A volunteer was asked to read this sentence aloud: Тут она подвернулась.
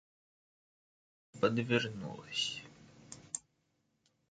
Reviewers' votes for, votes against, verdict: 0, 2, rejected